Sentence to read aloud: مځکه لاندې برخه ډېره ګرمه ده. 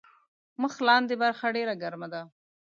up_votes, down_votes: 0, 2